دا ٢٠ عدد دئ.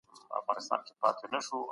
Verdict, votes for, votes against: rejected, 0, 2